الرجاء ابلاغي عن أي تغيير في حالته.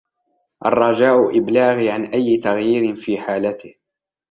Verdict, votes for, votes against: rejected, 1, 2